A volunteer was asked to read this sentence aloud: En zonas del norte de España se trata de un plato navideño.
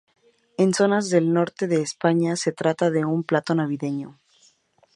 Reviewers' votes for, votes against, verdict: 2, 2, rejected